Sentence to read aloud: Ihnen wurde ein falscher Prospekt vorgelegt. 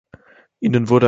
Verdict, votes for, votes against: rejected, 0, 2